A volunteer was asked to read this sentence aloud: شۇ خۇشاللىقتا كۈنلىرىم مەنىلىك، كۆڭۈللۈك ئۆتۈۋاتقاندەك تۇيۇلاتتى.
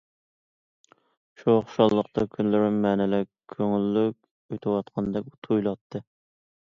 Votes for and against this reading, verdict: 2, 0, accepted